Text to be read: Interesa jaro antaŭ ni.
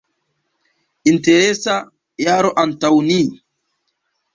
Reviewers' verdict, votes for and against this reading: rejected, 1, 2